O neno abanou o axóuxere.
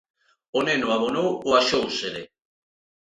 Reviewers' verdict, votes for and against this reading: rejected, 0, 2